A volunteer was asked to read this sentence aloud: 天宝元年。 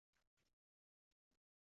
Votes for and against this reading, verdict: 2, 3, rejected